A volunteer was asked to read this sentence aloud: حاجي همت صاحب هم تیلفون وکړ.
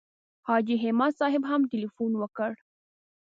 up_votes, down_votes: 2, 0